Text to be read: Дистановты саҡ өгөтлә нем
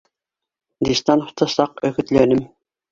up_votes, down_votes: 1, 2